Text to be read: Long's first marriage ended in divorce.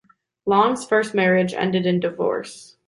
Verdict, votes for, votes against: accepted, 2, 0